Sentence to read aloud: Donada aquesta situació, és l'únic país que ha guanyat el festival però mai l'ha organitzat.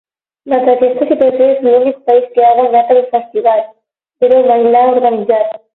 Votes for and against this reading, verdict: 0, 12, rejected